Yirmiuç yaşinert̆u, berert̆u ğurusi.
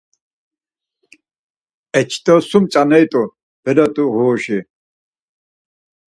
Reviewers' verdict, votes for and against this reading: rejected, 0, 4